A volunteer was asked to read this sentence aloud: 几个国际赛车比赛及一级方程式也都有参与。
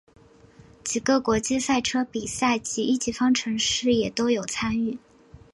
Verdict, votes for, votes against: accepted, 3, 1